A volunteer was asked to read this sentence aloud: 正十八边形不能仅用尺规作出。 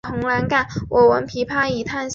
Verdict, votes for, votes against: accepted, 2, 1